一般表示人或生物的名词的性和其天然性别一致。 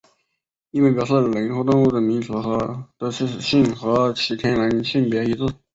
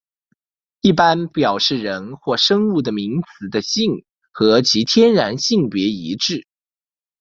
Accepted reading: second